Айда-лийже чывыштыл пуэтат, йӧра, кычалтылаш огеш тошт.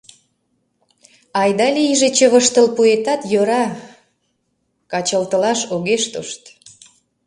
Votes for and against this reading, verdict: 1, 2, rejected